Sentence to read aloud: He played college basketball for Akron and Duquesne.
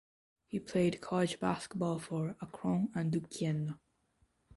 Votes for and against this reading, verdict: 1, 2, rejected